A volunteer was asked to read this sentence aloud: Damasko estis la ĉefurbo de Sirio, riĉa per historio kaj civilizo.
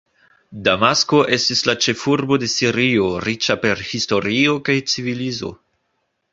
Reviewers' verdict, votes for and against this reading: accepted, 2, 1